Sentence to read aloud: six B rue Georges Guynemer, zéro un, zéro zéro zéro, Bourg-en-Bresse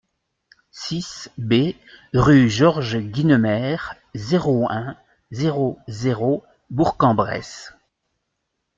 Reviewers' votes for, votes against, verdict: 0, 2, rejected